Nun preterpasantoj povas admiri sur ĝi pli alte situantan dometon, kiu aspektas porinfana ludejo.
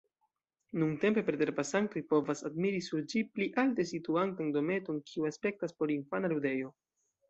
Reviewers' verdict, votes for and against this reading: rejected, 0, 2